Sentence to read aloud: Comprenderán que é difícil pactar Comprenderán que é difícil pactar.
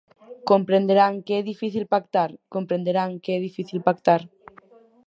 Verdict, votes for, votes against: rejected, 0, 4